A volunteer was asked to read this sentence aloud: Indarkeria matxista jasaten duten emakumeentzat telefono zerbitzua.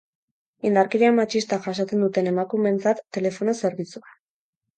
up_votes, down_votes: 4, 0